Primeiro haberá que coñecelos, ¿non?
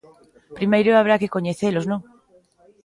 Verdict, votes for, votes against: accepted, 2, 1